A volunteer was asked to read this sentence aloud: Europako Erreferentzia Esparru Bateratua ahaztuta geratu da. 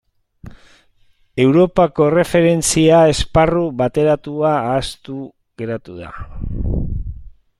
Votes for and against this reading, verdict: 0, 2, rejected